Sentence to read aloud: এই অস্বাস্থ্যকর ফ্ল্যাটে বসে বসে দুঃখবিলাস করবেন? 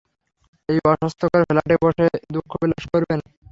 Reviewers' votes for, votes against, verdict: 3, 0, accepted